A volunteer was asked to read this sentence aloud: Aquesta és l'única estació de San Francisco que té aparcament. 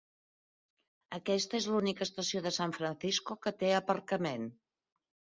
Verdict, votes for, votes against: rejected, 1, 2